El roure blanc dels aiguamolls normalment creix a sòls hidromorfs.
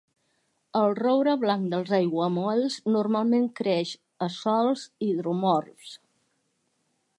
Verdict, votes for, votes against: accepted, 2, 0